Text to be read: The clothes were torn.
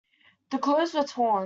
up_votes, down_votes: 2, 0